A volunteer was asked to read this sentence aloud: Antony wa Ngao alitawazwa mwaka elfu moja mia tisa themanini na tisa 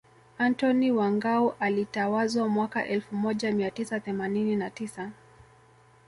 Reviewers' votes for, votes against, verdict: 2, 0, accepted